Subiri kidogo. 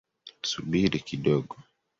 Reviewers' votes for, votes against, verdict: 0, 2, rejected